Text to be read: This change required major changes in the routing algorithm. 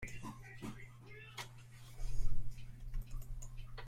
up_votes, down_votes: 0, 2